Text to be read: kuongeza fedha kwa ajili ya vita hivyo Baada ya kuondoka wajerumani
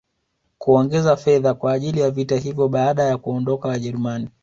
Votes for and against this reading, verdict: 2, 0, accepted